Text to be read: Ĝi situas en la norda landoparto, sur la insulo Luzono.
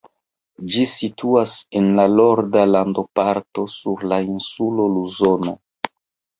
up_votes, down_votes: 1, 2